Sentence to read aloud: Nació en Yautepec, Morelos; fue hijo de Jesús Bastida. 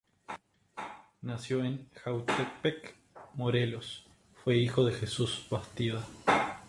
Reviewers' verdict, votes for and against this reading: rejected, 0, 2